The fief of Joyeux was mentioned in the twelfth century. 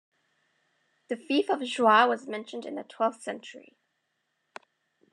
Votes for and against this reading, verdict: 1, 2, rejected